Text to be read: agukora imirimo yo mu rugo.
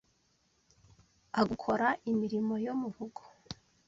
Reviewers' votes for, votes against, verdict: 1, 2, rejected